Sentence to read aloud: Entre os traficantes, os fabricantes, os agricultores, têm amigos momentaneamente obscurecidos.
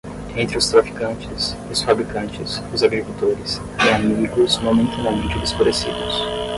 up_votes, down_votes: 10, 0